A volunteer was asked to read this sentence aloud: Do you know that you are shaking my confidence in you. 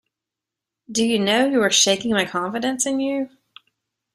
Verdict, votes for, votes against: rejected, 1, 2